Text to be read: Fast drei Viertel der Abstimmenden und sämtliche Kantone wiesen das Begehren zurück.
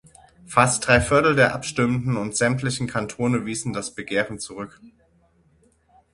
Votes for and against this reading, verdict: 0, 6, rejected